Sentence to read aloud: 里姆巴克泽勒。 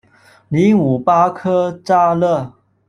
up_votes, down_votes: 1, 2